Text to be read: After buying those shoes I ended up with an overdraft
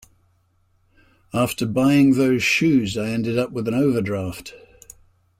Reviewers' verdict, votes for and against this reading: accepted, 2, 0